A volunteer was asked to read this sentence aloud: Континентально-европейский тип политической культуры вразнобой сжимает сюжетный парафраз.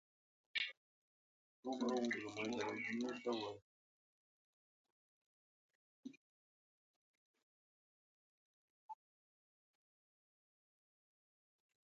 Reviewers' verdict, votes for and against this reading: rejected, 0, 2